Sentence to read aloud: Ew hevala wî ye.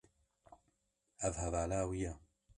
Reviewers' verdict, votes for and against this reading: rejected, 0, 2